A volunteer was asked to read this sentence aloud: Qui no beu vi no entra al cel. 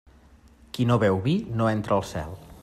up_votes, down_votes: 2, 0